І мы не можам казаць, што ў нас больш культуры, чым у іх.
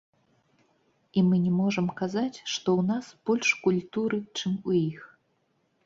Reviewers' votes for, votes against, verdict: 0, 3, rejected